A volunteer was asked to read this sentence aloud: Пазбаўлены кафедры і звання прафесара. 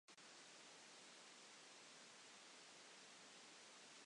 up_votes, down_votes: 0, 2